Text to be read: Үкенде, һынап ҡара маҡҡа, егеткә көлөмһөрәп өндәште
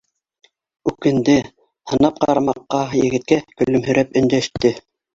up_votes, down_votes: 2, 0